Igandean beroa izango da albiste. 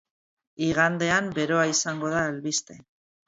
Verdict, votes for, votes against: accepted, 4, 0